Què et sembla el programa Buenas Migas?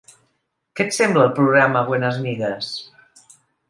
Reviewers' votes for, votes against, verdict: 2, 0, accepted